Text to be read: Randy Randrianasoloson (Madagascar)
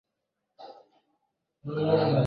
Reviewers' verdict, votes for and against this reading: rejected, 0, 2